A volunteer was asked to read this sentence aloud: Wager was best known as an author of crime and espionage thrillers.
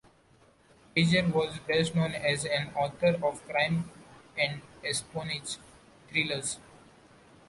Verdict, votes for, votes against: rejected, 0, 2